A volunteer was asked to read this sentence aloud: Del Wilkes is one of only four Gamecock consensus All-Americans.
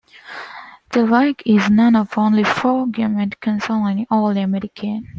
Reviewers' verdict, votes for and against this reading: accepted, 2, 0